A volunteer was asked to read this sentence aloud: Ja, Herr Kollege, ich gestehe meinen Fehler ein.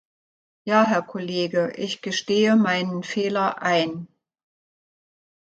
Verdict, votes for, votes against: accepted, 2, 0